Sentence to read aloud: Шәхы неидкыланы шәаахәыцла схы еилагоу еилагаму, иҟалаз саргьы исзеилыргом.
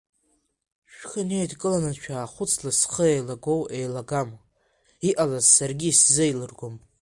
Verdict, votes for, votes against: rejected, 0, 2